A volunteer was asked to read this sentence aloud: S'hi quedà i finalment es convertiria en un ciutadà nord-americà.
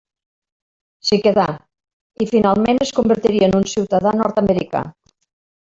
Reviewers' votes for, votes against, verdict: 2, 0, accepted